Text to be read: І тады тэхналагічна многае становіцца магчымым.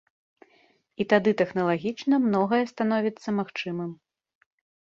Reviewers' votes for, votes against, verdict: 2, 0, accepted